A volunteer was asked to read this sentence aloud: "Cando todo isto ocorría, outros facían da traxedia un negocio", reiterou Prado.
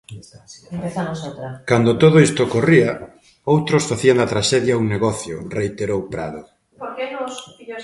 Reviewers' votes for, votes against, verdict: 0, 2, rejected